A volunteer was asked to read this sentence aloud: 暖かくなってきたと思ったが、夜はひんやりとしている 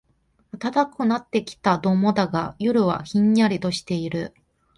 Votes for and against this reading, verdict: 0, 2, rejected